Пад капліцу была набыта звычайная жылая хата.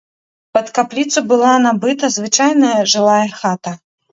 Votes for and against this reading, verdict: 2, 0, accepted